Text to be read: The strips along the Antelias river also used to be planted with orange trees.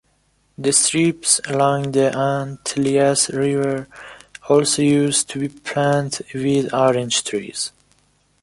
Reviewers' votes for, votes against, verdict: 0, 2, rejected